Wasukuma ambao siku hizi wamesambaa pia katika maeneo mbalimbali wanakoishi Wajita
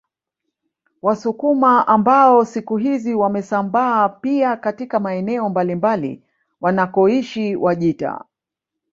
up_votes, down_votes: 1, 2